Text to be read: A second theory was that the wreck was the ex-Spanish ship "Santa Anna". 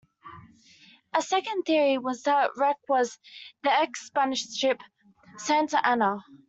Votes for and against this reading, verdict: 0, 2, rejected